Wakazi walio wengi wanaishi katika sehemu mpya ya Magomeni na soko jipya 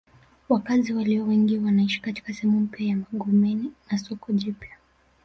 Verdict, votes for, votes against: accepted, 3, 0